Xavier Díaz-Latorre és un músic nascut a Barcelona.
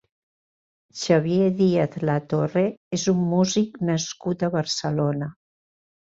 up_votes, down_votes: 2, 0